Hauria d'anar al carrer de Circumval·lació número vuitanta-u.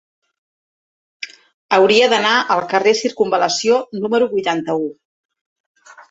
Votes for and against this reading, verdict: 0, 2, rejected